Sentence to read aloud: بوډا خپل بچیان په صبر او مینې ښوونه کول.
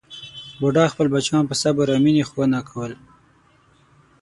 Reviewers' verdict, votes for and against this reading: rejected, 3, 6